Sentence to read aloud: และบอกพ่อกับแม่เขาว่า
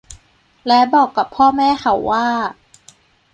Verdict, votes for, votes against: rejected, 1, 2